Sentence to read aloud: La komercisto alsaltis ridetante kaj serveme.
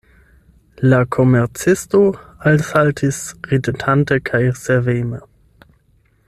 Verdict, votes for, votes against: accepted, 8, 0